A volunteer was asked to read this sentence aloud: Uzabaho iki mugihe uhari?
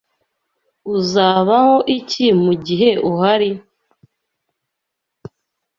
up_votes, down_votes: 2, 0